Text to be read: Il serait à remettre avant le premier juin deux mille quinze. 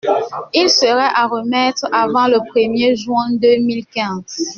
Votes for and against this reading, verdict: 2, 0, accepted